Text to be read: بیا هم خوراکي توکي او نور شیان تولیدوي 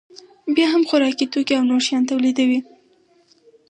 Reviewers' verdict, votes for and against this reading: accepted, 4, 0